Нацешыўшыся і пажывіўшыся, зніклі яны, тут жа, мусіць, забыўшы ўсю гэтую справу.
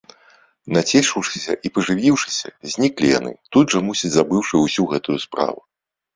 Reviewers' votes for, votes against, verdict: 2, 1, accepted